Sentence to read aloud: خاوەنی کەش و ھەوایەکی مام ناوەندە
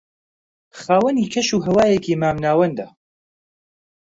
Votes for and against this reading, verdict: 2, 0, accepted